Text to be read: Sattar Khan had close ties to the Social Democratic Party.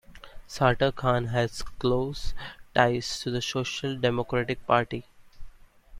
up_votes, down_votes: 1, 2